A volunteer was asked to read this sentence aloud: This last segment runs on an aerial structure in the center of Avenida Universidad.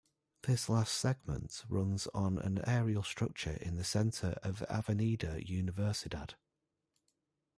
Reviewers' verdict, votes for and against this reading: rejected, 1, 2